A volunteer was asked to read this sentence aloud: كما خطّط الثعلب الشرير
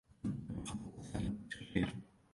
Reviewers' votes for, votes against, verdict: 0, 2, rejected